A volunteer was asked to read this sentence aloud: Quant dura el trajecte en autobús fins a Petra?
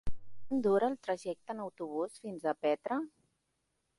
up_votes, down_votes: 1, 2